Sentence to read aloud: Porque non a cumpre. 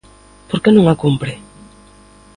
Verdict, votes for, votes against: rejected, 1, 2